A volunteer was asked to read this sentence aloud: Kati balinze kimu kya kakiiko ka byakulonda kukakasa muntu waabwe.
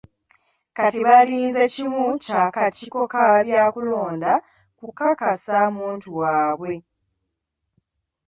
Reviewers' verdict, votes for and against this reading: accepted, 2, 0